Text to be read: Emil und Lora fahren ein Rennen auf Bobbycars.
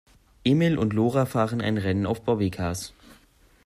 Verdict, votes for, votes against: accepted, 2, 0